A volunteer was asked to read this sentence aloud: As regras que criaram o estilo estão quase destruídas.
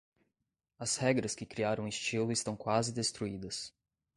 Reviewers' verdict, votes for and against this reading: accepted, 2, 0